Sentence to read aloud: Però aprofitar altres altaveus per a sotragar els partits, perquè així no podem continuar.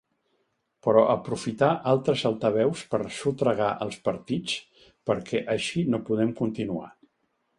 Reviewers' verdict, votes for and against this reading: rejected, 2, 3